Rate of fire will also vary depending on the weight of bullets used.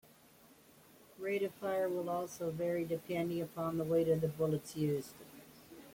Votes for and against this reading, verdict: 0, 2, rejected